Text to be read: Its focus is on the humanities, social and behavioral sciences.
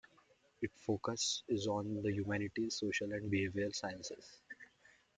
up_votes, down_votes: 2, 1